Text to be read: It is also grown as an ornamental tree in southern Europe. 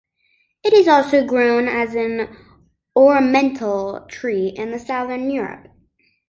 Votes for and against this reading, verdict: 1, 2, rejected